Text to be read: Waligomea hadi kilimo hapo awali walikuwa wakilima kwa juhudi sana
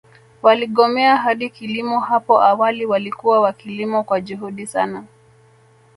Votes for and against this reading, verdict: 2, 0, accepted